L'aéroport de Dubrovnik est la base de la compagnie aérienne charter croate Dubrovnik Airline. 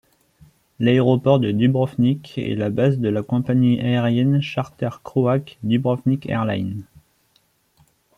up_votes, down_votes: 1, 2